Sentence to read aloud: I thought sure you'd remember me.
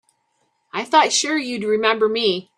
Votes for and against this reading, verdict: 2, 0, accepted